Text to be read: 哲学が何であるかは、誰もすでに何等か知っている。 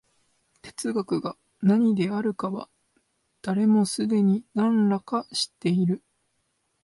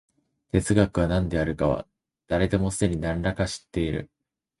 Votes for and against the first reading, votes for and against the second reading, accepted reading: 2, 0, 1, 2, first